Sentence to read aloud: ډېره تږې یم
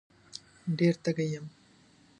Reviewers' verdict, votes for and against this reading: accepted, 3, 0